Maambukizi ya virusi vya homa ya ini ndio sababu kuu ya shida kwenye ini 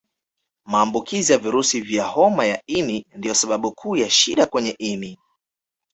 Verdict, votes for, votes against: rejected, 1, 2